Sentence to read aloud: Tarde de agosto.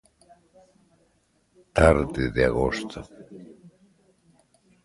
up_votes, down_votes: 1, 2